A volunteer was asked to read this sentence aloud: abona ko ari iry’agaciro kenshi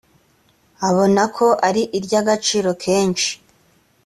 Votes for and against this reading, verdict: 2, 0, accepted